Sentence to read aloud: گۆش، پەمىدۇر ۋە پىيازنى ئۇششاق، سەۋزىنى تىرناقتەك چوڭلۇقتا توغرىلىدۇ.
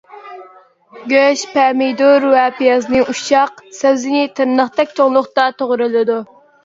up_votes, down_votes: 2, 0